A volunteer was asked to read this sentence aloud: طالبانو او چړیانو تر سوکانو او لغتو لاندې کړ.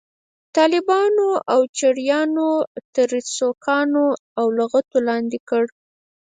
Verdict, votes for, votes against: rejected, 2, 4